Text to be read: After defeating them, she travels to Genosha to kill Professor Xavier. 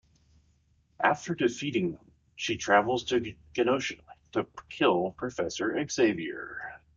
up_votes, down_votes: 1, 2